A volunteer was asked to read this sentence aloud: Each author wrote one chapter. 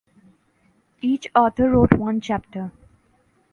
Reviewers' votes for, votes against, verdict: 2, 0, accepted